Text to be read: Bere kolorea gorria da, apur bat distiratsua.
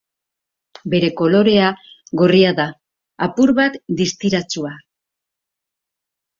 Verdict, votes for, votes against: accepted, 4, 0